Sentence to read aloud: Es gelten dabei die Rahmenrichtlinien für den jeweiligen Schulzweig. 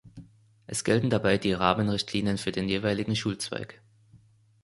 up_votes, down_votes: 2, 0